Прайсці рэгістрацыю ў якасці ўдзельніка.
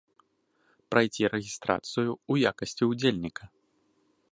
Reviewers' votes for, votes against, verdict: 0, 2, rejected